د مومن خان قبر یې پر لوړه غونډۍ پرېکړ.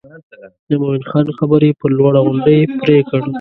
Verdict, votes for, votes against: rejected, 1, 2